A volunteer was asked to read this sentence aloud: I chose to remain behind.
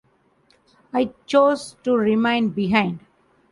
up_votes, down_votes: 2, 0